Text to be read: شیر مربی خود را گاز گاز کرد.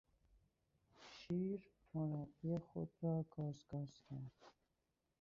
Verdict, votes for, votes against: rejected, 2, 2